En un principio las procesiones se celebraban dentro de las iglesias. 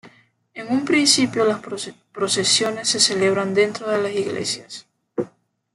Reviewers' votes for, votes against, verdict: 1, 2, rejected